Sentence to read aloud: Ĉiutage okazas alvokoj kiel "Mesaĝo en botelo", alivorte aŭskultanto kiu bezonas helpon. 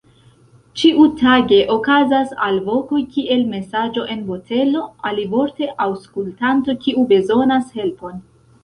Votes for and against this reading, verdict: 0, 3, rejected